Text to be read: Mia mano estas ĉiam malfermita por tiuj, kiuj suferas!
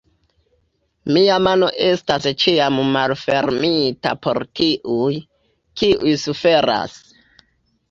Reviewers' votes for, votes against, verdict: 2, 1, accepted